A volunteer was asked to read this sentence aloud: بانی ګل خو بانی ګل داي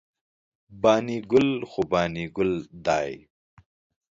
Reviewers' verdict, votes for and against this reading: accepted, 2, 0